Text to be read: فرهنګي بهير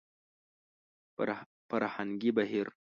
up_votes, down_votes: 1, 3